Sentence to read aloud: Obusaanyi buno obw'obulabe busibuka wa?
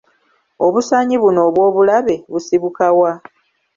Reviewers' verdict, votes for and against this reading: accepted, 2, 1